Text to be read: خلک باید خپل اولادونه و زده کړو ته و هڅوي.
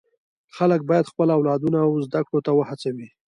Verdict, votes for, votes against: rejected, 1, 2